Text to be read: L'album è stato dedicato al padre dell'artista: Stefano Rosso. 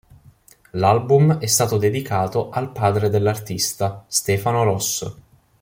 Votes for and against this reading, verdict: 2, 0, accepted